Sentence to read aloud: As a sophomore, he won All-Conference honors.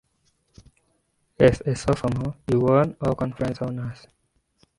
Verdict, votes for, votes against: accepted, 2, 1